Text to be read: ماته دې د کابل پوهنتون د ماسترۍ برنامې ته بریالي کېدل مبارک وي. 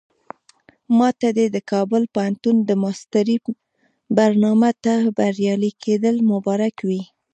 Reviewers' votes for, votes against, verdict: 2, 1, accepted